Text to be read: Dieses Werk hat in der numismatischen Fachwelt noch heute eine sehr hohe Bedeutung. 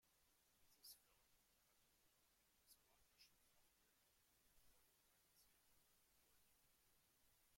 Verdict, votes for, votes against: rejected, 0, 2